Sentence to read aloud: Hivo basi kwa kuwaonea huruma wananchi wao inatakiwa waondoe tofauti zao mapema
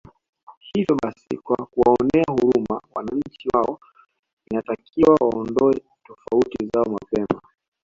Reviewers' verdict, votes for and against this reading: accepted, 2, 1